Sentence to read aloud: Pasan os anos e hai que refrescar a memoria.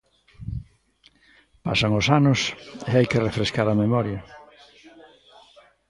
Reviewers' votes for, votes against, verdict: 2, 0, accepted